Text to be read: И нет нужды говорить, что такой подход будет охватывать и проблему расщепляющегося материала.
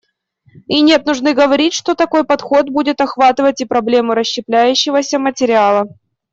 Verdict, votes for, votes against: accepted, 2, 0